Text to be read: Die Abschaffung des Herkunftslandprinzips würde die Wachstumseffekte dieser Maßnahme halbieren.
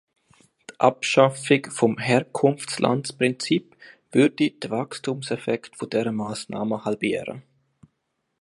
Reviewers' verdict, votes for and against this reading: rejected, 0, 2